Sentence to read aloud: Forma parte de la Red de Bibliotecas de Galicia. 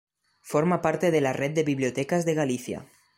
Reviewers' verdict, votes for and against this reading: accepted, 2, 0